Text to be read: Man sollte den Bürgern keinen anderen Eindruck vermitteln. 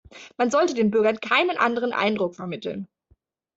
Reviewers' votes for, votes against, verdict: 2, 0, accepted